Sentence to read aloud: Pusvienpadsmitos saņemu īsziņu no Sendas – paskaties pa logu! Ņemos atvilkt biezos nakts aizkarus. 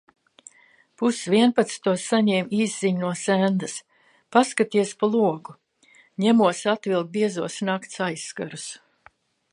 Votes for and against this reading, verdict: 0, 2, rejected